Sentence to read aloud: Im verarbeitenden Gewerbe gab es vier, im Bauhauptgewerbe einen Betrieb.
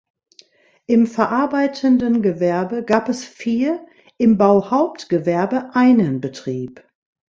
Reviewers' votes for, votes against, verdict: 2, 0, accepted